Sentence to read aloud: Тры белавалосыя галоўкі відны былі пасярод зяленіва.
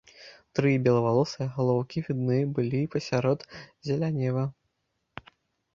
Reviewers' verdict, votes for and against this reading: rejected, 1, 2